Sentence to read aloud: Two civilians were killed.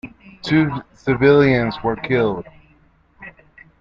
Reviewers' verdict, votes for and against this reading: accepted, 2, 0